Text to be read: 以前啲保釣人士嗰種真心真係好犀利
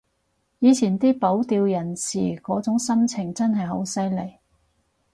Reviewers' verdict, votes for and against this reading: accepted, 4, 2